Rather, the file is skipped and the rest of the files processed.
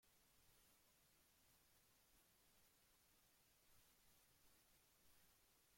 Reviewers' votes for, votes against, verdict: 0, 2, rejected